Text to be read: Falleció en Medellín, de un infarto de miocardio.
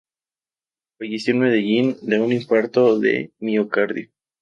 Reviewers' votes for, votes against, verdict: 2, 0, accepted